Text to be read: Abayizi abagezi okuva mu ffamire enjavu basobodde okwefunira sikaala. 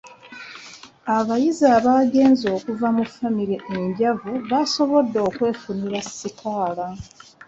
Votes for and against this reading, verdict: 1, 2, rejected